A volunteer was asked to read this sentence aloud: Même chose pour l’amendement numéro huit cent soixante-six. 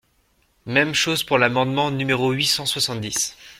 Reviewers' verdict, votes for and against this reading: rejected, 1, 2